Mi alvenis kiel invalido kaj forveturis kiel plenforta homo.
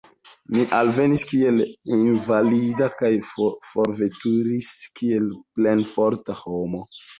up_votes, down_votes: 2, 0